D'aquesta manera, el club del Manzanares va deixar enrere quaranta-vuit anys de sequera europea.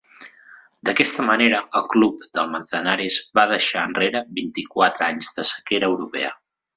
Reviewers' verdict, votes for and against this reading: rejected, 1, 2